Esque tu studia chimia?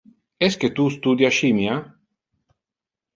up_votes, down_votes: 0, 2